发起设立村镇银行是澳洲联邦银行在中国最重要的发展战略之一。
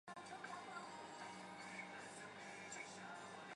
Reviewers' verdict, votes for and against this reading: rejected, 0, 2